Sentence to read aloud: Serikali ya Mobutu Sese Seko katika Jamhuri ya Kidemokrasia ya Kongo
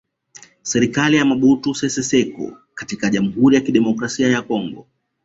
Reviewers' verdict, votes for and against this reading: accepted, 2, 1